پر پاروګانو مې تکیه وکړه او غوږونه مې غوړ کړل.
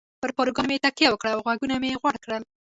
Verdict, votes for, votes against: accepted, 2, 0